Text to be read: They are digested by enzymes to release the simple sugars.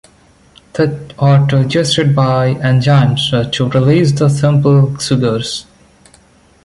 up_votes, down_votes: 0, 2